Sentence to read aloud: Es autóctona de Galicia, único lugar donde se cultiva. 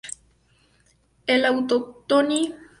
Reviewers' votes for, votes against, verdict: 0, 2, rejected